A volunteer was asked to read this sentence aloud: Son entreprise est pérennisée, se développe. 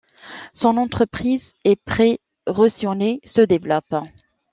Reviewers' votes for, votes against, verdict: 2, 3, rejected